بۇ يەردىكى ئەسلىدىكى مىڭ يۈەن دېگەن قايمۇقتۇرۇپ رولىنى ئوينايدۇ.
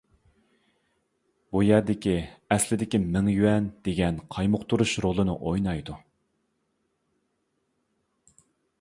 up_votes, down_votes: 0, 2